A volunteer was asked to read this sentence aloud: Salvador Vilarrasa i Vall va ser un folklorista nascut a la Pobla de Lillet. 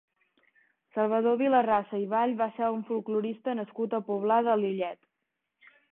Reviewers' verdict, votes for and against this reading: rejected, 0, 2